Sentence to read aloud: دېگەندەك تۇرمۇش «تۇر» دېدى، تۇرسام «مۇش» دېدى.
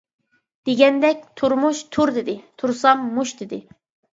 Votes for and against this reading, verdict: 2, 0, accepted